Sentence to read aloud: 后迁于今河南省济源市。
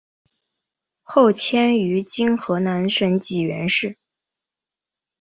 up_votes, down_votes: 2, 0